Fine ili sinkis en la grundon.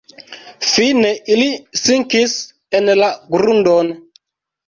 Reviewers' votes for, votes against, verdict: 1, 2, rejected